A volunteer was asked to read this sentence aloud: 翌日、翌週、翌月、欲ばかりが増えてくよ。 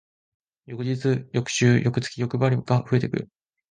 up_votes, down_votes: 1, 2